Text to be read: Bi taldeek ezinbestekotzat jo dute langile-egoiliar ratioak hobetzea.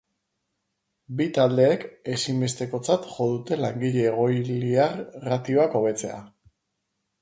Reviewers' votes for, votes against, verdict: 0, 2, rejected